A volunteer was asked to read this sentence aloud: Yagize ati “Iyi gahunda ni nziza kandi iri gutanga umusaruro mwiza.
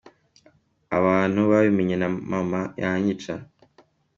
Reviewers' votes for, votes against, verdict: 0, 2, rejected